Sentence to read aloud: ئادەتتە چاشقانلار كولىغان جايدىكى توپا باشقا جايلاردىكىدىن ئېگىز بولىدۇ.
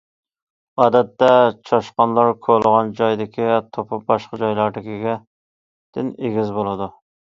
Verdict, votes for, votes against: rejected, 0, 2